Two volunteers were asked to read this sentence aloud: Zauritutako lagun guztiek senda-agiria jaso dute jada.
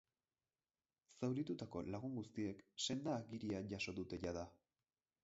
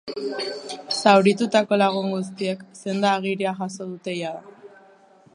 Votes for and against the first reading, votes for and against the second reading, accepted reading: 2, 2, 2, 1, second